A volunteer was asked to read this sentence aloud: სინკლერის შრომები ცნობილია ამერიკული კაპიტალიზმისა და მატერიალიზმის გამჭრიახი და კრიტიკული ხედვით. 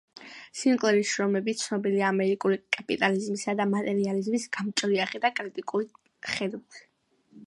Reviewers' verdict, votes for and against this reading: accepted, 2, 0